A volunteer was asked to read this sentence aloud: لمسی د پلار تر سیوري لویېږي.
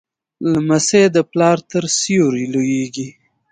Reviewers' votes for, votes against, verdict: 2, 1, accepted